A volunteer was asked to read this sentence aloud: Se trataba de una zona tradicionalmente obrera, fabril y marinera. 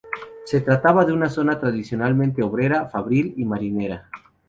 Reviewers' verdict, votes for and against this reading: rejected, 2, 2